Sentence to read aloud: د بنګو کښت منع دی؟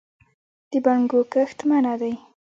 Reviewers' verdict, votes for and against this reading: accepted, 2, 0